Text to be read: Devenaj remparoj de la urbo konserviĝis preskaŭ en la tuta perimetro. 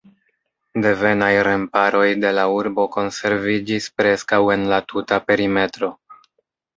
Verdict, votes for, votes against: rejected, 0, 2